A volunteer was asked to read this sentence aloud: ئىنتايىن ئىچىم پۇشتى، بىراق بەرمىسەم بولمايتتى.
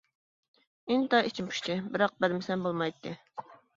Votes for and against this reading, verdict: 0, 2, rejected